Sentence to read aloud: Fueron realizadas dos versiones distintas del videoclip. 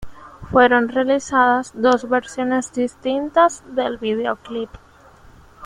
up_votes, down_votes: 2, 0